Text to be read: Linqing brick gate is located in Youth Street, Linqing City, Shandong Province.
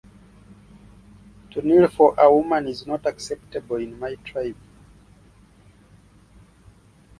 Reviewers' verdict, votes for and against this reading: rejected, 0, 2